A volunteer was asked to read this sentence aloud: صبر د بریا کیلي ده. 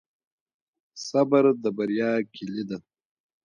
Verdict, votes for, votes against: accepted, 2, 1